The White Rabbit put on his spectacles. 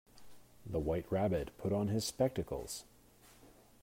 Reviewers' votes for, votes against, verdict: 2, 1, accepted